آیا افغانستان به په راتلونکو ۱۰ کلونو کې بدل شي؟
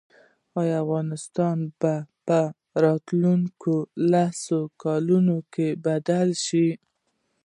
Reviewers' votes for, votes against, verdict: 0, 2, rejected